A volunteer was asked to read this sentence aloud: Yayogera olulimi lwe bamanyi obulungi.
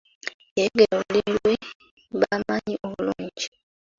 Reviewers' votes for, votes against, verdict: 0, 2, rejected